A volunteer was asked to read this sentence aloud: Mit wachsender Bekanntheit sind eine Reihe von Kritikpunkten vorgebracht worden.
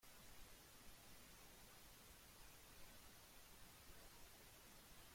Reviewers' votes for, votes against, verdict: 0, 2, rejected